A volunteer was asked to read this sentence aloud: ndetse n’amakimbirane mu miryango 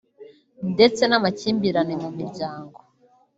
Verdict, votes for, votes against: rejected, 1, 2